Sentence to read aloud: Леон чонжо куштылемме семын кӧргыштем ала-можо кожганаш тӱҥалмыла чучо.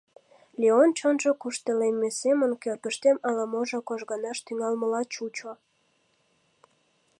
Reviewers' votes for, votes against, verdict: 2, 0, accepted